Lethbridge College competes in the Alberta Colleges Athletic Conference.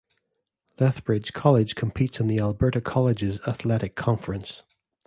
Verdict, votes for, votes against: accepted, 2, 0